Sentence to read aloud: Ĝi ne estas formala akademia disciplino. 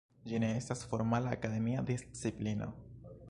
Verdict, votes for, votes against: rejected, 0, 2